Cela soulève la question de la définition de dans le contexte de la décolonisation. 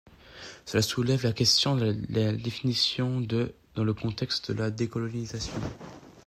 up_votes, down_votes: 1, 2